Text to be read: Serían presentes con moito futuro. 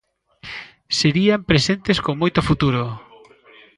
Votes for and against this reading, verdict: 2, 0, accepted